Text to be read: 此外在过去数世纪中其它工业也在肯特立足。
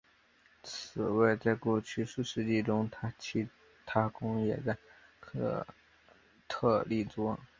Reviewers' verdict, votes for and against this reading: rejected, 1, 2